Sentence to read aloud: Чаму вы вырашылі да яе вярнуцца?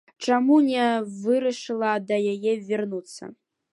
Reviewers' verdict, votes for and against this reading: rejected, 0, 2